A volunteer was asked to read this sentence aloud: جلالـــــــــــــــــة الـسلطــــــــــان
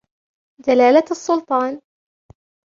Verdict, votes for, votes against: accepted, 2, 0